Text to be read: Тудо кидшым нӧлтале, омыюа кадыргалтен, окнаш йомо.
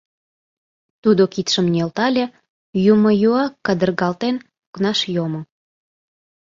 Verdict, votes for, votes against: rejected, 0, 2